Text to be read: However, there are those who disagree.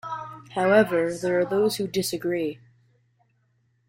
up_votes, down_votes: 1, 2